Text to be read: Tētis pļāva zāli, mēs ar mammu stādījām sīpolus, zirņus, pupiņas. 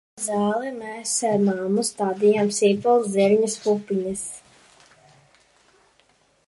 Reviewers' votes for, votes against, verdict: 1, 2, rejected